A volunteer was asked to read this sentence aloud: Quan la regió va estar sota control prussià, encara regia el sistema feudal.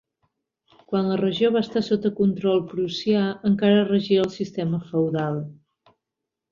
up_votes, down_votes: 2, 0